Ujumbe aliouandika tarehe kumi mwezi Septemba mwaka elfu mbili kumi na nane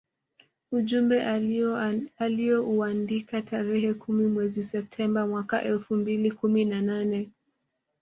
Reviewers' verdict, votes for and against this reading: accepted, 2, 1